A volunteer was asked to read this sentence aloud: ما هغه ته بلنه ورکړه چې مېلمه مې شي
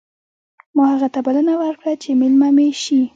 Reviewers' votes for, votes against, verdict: 0, 2, rejected